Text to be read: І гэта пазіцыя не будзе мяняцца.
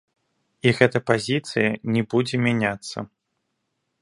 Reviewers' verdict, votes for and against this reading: accepted, 2, 0